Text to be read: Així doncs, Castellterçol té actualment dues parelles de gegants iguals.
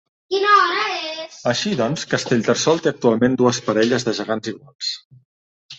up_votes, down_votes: 0, 2